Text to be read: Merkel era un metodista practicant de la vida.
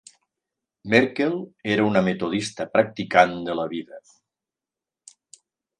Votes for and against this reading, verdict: 0, 2, rejected